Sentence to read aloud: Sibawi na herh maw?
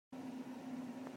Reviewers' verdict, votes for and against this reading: rejected, 0, 2